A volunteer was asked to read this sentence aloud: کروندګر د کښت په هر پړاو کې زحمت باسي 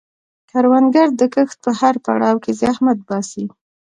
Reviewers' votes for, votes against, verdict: 2, 0, accepted